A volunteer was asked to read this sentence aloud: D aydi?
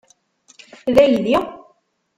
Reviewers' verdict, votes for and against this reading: rejected, 1, 2